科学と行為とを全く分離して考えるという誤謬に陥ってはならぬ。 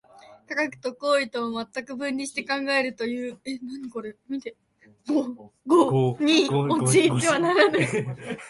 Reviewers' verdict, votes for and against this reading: rejected, 0, 4